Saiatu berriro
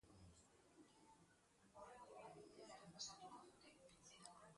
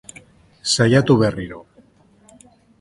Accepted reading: second